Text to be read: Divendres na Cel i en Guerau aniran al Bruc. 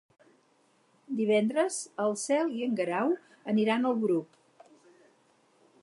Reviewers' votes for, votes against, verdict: 0, 4, rejected